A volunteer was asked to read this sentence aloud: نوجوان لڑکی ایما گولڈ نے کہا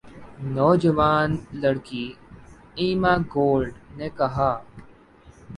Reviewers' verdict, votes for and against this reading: rejected, 4, 4